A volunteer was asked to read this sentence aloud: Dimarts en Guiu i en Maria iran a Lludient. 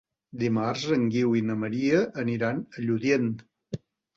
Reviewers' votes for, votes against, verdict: 0, 2, rejected